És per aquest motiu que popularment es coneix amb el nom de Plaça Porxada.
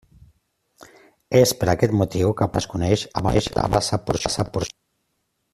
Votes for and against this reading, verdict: 0, 2, rejected